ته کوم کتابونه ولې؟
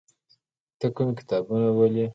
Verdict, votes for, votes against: accepted, 2, 0